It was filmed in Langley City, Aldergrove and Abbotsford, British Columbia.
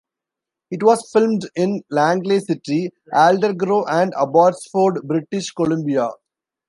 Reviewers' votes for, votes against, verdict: 0, 2, rejected